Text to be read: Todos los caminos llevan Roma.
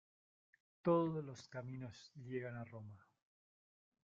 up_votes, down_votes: 1, 2